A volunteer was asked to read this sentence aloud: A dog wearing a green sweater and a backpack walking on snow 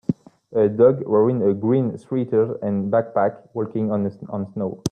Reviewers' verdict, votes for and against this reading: rejected, 1, 2